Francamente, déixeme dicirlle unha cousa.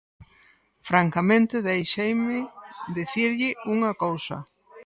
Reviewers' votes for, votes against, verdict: 0, 4, rejected